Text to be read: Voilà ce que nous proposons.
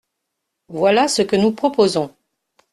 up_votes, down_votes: 2, 0